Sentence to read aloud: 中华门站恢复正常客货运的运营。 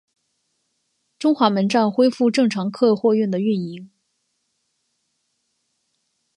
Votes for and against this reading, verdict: 4, 0, accepted